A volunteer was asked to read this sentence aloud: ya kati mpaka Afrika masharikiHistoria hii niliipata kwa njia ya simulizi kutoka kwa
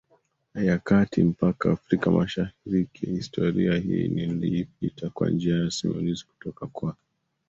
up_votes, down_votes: 0, 2